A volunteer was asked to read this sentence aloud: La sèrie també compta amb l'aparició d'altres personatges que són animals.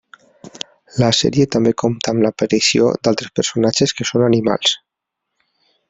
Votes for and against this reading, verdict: 3, 0, accepted